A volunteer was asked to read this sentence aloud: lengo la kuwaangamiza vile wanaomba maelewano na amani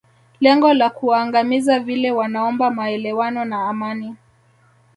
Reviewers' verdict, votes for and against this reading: accepted, 2, 0